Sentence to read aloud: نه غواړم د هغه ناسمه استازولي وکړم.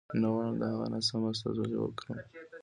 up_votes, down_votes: 2, 1